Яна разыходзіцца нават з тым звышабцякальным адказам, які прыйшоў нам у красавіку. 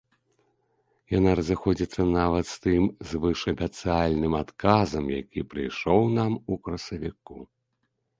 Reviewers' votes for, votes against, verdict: 1, 2, rejected